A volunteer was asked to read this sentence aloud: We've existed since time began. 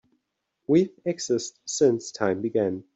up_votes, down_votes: 0, 2